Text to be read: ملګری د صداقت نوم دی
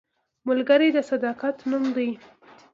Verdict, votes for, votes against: accepted, 2, 0